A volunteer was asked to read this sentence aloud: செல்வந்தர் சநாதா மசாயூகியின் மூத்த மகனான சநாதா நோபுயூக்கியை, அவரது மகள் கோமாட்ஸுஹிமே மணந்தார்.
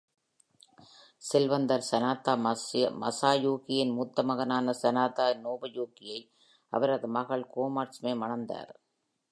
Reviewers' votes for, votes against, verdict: 1, 2, rejected